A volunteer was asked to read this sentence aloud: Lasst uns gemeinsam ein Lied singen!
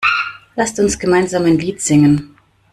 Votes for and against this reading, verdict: 1, 2, rejected